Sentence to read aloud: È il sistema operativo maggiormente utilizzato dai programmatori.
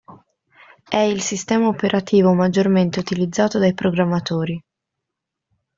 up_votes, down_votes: 2, 0